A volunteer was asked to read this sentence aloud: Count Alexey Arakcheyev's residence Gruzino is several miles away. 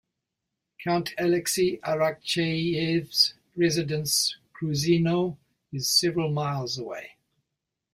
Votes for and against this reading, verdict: 2, 1, accepted